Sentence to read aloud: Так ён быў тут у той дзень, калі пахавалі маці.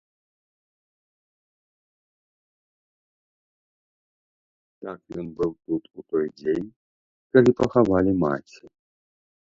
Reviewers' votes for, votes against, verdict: 1, 2, rejected